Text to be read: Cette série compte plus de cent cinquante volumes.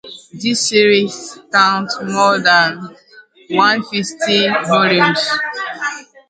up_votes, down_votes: 0, 2